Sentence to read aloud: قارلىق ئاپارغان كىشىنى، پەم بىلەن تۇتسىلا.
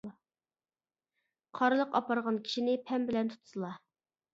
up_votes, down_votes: 2, 0